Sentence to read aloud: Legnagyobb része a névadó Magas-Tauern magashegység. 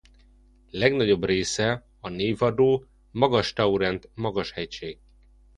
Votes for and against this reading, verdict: 1, 2, rejected